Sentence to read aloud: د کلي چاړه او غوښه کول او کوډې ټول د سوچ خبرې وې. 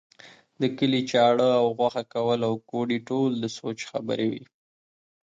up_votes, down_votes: 2, 0